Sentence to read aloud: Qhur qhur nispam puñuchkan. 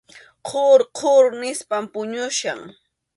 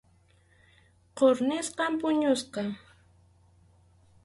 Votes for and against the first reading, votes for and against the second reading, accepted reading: 2, 0, 0, 4, first